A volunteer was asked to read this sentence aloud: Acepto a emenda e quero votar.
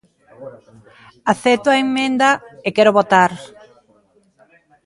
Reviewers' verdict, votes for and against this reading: rejected, 0, 2